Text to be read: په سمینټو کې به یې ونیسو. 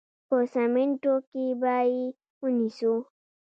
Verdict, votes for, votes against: rejected, 1, 2